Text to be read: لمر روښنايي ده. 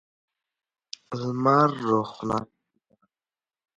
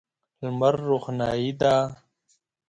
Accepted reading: second